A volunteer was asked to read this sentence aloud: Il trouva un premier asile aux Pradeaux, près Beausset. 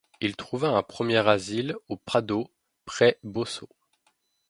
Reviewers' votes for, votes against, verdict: 0, 2, rejected